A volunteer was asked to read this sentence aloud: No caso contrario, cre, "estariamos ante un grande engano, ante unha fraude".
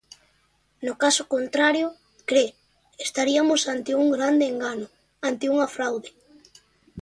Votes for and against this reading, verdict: 0, 2, rejected